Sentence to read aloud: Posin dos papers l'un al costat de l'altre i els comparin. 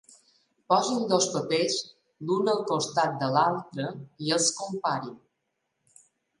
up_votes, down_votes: 4, 0